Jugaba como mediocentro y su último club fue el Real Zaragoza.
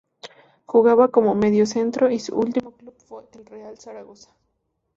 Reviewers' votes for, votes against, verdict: 2, 0, accepted